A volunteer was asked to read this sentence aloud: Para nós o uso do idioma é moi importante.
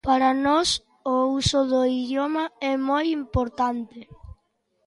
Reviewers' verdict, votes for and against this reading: accepted, 2, 0